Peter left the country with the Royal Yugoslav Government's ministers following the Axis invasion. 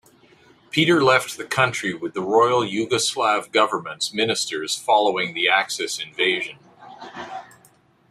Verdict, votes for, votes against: accepted, 2, 0